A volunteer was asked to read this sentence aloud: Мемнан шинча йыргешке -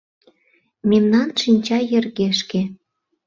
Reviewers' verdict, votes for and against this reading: accepted, 2, 0